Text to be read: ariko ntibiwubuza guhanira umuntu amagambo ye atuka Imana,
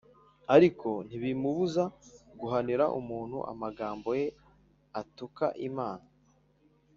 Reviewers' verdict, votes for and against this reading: rejected, 0, 2